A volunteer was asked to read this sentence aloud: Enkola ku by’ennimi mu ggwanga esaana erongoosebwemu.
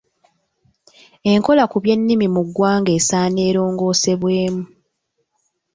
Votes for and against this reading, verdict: 2, 0, accepted